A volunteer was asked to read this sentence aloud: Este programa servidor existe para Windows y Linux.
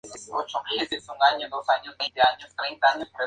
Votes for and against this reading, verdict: 2, 0, accepted